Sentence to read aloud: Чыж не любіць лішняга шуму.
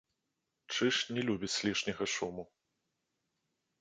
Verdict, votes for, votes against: accepted, 2, 0